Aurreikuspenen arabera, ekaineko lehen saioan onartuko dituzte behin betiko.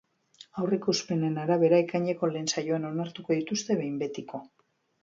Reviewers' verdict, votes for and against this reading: accepted, 4, 0